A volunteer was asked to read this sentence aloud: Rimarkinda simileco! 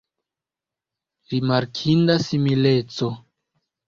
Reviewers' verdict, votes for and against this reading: accepted, 2, 0